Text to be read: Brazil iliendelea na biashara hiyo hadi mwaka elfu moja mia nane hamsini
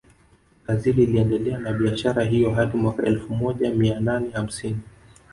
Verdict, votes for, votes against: rejected, 1, 2